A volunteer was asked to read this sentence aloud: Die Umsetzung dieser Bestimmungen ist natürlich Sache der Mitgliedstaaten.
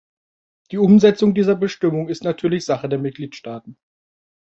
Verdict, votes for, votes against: rejected, 0, 2